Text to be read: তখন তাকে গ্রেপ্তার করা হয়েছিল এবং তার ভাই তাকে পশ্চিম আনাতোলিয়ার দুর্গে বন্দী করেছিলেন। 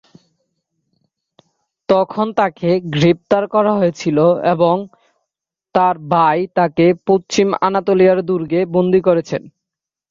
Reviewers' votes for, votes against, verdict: 0, 2, rejected